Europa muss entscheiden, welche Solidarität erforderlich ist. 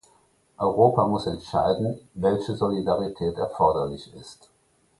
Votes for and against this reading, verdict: 2, 0, accepted